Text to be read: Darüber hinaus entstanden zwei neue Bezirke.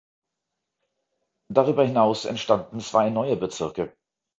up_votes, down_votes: 2, 0